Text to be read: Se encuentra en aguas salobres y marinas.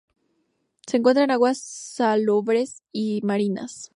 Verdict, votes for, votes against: rejected, 0, 2